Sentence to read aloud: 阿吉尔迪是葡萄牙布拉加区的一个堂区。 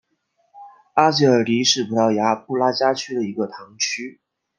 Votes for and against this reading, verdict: 2, 0, accepted